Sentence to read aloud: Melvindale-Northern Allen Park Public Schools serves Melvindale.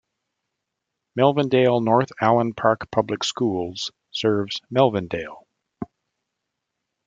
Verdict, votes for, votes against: rejected, 1, 2